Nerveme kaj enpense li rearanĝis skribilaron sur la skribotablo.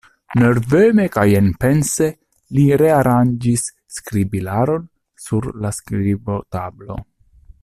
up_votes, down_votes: 2, 0